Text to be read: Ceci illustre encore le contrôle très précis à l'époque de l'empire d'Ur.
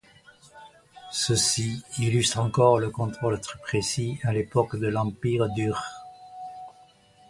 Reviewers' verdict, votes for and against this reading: accepted, 2, 1